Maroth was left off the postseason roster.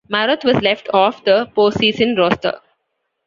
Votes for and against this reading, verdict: 2, 1, accepted